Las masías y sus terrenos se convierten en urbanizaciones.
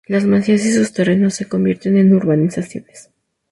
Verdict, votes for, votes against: rejected, 2, 2